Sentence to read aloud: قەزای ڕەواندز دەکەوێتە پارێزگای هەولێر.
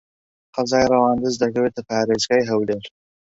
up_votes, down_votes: 2, 0